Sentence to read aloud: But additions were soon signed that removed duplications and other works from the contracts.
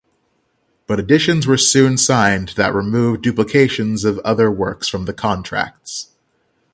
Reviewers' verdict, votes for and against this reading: accepted, 6, 0